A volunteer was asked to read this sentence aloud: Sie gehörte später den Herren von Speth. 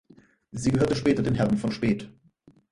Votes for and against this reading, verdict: 4, 0, accepted